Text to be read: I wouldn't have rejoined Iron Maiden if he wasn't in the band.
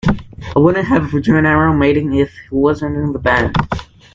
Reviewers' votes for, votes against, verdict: 2, 1, accepted